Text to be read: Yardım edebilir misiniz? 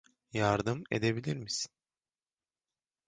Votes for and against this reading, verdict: 0, 2, rejected